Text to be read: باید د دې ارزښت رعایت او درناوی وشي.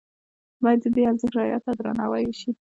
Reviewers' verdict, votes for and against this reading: accepted, 2, 0